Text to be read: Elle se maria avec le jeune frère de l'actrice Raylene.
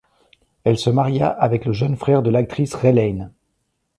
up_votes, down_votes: 2, 0